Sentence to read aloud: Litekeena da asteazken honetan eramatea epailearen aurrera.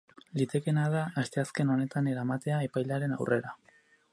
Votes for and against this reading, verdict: 2, 2, rejected